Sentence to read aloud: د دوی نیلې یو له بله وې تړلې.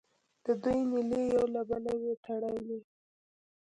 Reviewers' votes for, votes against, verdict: 1, 2, rejected